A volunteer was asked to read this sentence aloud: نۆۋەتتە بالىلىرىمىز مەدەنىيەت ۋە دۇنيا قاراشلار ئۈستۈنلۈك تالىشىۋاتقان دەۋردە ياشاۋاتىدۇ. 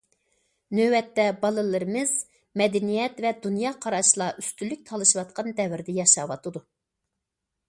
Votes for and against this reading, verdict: 2, 0, accepted